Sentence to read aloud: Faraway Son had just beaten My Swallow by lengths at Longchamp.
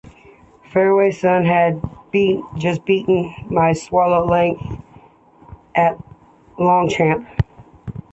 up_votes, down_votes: 1, 2